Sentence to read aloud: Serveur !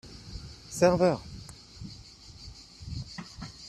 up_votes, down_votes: 1, 2